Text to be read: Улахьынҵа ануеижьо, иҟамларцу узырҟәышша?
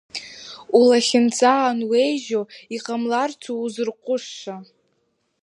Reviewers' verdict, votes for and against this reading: accepted, 2, 0